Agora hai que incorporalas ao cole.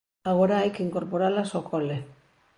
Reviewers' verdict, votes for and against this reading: accepted, 2, 0